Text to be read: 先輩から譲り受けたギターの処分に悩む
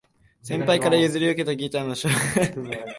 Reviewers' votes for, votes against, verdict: 0, 2, rejected